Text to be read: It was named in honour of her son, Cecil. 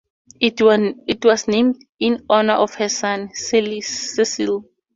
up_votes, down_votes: 2, 0